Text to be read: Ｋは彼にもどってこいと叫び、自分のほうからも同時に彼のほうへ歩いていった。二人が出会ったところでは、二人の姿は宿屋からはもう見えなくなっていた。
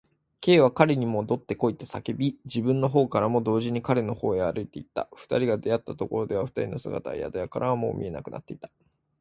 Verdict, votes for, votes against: accepted, 2, 0